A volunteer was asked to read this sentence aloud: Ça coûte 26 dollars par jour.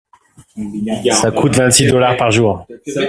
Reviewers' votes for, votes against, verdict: 0, 2, rejected